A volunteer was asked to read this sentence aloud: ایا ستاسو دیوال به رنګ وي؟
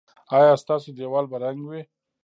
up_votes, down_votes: 2, 0